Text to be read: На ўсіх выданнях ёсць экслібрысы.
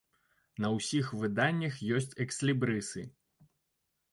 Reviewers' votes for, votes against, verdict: 1, 2, rejected